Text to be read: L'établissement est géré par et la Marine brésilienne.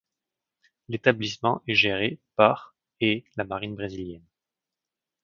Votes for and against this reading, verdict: 2, 0, accepted